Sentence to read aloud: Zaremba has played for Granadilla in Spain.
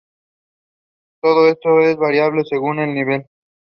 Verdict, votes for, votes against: rejected, 0, 2